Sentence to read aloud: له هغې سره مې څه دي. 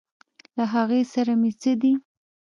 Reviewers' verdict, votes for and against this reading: accepted, 2, 0